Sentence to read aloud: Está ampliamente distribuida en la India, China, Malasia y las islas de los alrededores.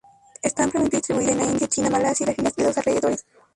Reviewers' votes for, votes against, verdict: 0, 2, rejected